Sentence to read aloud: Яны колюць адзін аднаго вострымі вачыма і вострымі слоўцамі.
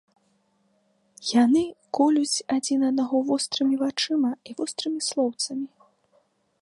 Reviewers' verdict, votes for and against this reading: accepted, 2, 0